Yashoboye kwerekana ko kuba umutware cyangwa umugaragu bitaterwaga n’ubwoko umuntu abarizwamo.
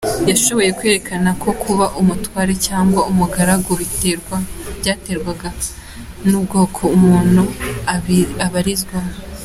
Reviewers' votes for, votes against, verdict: 2, 0, accepted